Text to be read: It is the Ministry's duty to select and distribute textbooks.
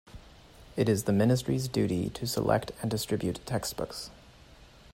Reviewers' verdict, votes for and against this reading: accepted, 2, 0